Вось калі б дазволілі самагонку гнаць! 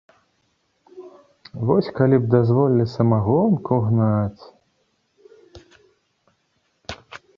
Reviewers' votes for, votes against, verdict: 2, 0, accepted